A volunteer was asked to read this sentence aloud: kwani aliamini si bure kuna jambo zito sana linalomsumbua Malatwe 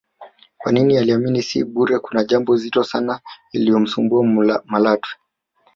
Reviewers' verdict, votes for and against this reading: rejected, 1, 2